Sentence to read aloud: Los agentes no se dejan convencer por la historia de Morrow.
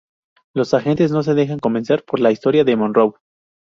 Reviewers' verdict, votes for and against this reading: rejected, 0, 2